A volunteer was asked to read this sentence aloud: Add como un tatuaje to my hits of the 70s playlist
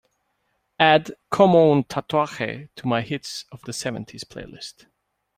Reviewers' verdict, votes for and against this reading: rejected, 0, 2